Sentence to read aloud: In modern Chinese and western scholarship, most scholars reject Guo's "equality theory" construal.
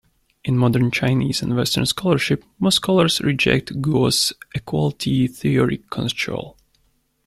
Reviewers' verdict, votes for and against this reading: rejected, 1, 2